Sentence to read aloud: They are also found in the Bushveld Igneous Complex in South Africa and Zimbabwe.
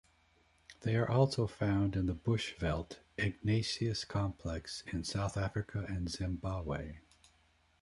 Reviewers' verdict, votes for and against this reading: rejected, 0, 2